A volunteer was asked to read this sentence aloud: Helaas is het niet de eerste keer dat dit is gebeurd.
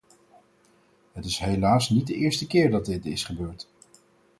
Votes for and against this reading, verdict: 2, 4, rejected